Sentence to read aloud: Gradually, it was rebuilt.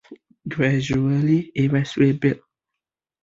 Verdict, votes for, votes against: accepted, 3, 1